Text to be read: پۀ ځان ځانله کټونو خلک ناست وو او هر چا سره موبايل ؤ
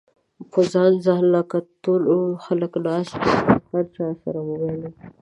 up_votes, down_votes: 1, 2